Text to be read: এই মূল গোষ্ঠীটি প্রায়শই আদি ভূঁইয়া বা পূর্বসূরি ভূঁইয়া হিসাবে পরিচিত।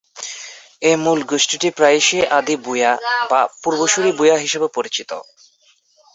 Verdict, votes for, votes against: accepted, 2, 1